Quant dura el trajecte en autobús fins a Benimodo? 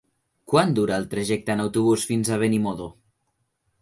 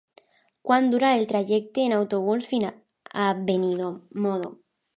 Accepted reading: first